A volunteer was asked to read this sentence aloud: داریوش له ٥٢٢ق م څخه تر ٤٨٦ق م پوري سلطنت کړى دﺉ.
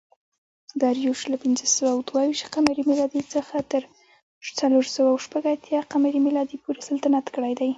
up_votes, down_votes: 0, 2